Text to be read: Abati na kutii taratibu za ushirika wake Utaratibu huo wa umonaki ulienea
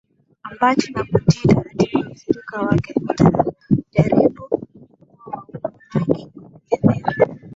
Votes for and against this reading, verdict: 6, 4, accepted